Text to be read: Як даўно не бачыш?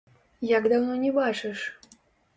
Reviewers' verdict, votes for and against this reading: rejected, 1, 2